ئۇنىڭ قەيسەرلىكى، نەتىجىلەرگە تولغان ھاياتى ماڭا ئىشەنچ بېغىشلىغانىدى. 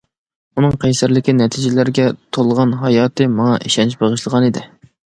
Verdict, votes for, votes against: accepted, 2, 0